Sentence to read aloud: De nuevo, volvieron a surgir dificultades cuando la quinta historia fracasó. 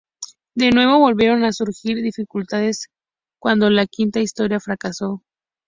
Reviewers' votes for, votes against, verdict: 4, 0, accepted